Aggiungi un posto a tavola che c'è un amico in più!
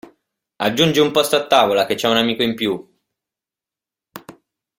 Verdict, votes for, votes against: accepted, 2, 0